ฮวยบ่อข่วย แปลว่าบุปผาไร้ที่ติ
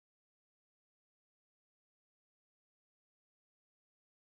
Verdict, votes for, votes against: rejected, 1, 2